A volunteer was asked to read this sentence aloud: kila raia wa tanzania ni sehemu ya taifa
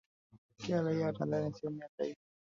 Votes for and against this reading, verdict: 1, 2, rejected